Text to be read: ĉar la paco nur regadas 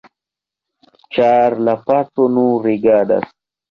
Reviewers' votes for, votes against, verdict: 0, 2, rejected